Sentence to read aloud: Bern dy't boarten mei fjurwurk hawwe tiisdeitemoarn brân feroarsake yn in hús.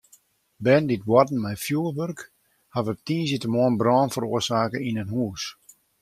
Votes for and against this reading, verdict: 0, 2, rejected